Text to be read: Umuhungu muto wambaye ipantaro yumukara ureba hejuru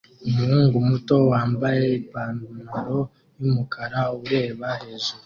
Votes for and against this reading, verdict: 2, 1, accepted